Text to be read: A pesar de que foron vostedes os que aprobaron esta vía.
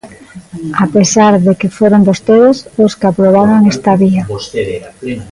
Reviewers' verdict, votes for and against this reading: rejected, 0, 2